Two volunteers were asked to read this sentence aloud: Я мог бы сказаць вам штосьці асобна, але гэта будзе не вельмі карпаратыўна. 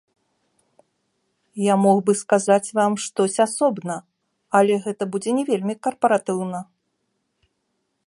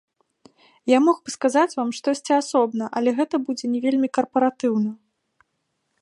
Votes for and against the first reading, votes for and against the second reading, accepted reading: 1, 2, 2, 0, second